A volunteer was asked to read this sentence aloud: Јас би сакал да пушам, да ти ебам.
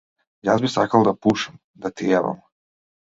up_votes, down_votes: 2, 0